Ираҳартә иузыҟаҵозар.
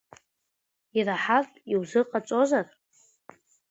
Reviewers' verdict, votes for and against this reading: rejected, 2, 3